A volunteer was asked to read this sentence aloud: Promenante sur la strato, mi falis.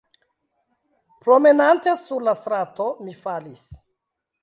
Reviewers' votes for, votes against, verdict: 0, 2, rejected